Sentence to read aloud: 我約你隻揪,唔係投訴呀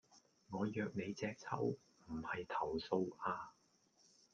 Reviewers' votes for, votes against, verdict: 1, 2, rejected